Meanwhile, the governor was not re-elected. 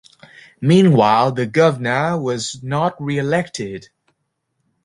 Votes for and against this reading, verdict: 0, 2, rejected